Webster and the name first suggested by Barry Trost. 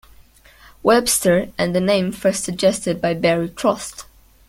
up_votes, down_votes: 2, 0